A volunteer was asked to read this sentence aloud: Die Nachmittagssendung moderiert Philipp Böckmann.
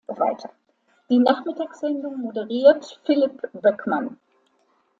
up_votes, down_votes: 1, 2